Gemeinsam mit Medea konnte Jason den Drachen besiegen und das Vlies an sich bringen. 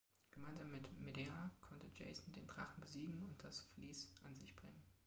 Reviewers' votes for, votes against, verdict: 1, 2, rejected